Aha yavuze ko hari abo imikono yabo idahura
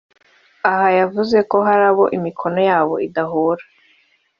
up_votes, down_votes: 3, 0